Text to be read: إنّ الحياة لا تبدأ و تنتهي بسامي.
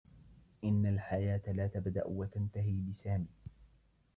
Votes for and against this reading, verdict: 0, 2, rejected